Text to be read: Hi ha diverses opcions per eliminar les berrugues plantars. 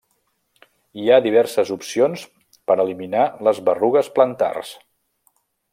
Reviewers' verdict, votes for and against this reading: accepted, 2, 0